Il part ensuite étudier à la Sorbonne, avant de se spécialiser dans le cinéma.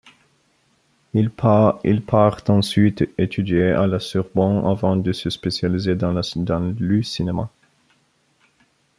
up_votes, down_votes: 0, 2